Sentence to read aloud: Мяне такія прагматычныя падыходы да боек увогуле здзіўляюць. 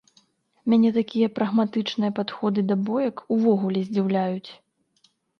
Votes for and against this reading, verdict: 0, 2, rejected